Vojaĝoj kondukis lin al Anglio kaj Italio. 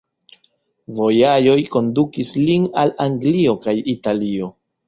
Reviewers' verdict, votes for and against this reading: rejected, 1, 2